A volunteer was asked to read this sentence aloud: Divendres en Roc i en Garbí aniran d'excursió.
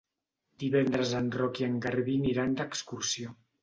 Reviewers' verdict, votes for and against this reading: rejected, 0, 2